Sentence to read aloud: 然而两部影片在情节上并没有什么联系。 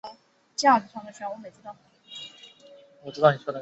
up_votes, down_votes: 0, 2